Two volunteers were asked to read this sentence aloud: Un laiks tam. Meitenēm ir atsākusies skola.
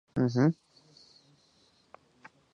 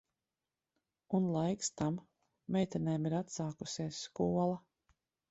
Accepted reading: second